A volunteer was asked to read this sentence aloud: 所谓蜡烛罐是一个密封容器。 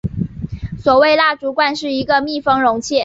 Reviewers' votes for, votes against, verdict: 2, 0, accepted